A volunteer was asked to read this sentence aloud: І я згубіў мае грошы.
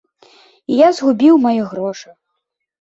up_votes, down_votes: 2, 0